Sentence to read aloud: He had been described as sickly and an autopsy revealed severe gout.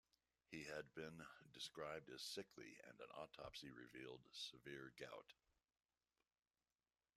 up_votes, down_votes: 1, 2